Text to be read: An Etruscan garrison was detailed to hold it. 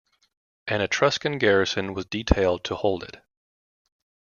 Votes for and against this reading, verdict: 2, 0, accepted